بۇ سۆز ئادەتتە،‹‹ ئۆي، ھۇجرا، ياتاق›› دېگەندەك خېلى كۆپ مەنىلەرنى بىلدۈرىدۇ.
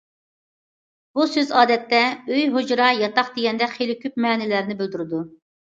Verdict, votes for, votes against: accepted, 2, 0